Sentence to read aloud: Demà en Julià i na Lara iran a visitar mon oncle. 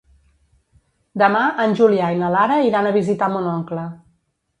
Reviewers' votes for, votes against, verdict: 2, 0, accepted